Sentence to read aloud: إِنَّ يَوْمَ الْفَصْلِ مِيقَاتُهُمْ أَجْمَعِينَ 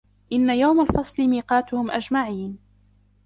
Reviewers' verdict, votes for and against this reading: rejected, 1, 2